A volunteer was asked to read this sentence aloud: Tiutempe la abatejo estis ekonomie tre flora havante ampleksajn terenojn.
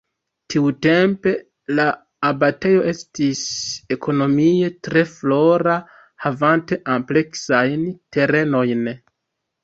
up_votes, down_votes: 1, 2